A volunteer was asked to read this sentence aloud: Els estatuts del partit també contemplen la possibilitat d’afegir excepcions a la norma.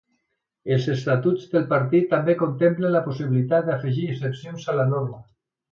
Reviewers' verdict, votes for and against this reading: accepted, 2, 0